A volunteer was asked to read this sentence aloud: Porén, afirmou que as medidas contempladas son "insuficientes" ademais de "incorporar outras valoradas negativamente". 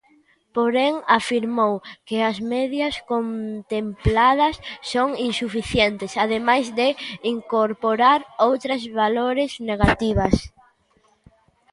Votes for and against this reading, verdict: 0, 2, rejected